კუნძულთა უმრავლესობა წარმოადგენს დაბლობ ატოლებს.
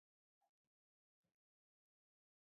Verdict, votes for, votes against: rejected, 0, 2